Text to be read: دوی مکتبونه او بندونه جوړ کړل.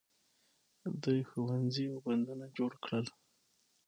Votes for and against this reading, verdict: 6, 0, accepted